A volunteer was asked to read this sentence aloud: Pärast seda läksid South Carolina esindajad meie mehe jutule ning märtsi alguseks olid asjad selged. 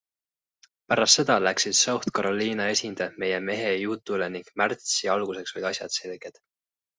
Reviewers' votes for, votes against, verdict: 2, 1, accepted